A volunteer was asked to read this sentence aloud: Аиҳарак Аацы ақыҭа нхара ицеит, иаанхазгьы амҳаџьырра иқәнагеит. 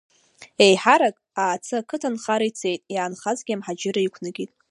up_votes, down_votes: 0, 2